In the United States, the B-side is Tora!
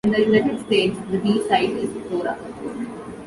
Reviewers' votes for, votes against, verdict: 2, 1, accepted